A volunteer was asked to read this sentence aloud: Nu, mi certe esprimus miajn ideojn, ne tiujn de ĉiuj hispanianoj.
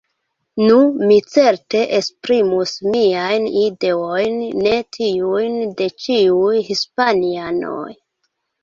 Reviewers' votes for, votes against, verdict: 0, 2, rejected